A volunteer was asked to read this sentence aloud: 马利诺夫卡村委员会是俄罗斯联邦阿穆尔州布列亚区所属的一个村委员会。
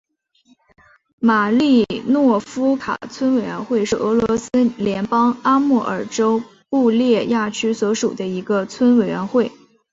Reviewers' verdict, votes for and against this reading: accepted, 8, 1